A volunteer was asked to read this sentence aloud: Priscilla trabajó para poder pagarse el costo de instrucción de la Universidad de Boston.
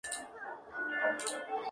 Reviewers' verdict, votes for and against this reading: rejected, 0, 2